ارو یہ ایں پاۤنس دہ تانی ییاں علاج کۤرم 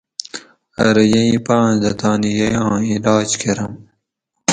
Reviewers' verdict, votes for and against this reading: accepted, 4, 0